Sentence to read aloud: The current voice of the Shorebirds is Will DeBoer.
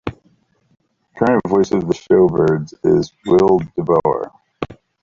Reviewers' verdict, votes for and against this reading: accepted, 2, 0